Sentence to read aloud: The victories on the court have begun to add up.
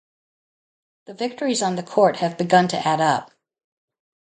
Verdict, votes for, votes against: accepted, 2, 0